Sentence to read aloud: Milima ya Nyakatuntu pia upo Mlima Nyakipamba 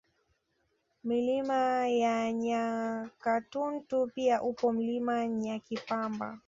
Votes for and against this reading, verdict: 2, 1, accepted